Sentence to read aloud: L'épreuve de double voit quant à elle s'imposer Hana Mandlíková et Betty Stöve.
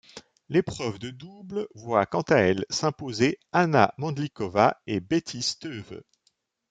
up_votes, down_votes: 2, 0